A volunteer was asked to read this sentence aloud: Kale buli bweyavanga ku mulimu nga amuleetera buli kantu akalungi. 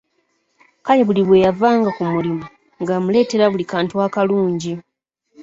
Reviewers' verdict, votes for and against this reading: accepted, 2, 0